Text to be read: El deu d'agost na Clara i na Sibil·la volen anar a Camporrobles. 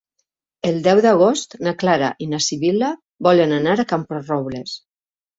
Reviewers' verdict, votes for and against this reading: accepted, 3, 0